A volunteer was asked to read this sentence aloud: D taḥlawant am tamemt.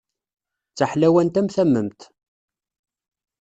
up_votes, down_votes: 2, 0